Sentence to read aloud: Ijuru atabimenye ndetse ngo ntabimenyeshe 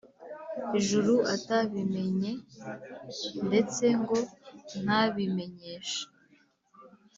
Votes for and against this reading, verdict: 4, 0, accepted